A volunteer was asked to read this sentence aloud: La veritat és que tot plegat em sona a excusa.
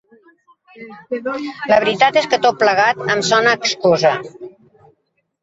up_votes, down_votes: 1, 2